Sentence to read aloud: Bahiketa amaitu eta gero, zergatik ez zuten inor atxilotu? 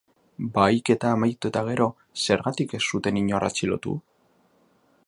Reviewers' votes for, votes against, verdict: 2, 0, accepted